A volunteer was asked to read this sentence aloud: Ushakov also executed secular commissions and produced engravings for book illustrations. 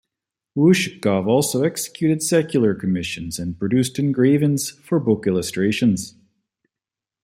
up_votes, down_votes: 2, 0